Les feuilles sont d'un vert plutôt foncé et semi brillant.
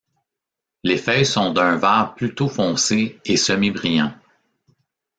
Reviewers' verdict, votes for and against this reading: accepted, 2, 1